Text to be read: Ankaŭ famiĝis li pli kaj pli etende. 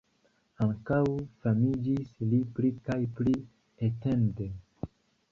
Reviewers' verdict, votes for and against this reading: accepted, 2, 0